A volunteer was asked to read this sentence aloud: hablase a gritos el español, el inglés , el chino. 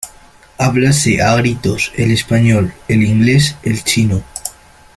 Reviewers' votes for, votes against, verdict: 2, 0, accepted